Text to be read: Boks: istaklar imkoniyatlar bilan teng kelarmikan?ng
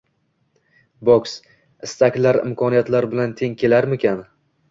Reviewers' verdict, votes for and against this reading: rejected, 1, 2